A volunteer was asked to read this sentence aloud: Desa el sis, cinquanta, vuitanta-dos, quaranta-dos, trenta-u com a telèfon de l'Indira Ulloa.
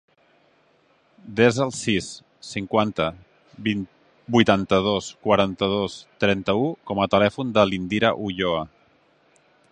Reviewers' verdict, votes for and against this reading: rejected, 0, 2